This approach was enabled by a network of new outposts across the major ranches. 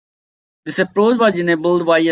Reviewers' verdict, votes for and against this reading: rejected, 0, 2